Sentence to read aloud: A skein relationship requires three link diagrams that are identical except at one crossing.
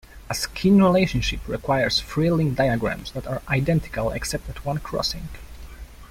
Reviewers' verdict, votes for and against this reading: rejected, 1, 2